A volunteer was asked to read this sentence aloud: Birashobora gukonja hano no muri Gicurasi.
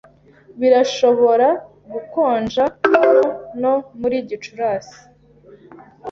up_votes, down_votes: 0, 2